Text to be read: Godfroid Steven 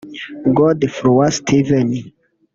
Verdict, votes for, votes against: rejected, 1, 2